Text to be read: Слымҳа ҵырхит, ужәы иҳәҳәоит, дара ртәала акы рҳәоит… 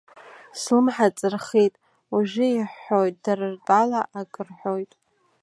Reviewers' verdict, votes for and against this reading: accepted, 2, 0